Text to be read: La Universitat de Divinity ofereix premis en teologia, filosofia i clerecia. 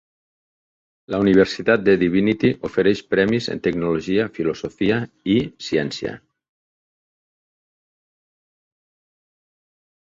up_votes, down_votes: 0, 2